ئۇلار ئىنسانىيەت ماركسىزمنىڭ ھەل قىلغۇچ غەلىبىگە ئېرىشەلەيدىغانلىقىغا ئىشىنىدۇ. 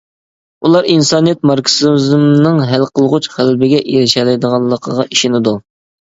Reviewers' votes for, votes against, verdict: 0, 2, rejected